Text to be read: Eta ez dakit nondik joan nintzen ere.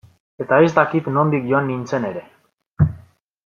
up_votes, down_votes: 2, 0